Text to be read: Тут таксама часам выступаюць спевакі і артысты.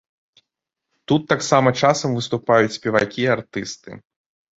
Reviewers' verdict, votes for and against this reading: accepted, 2, 0